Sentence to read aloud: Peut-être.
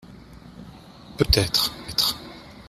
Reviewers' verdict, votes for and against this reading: rejected, 0, 2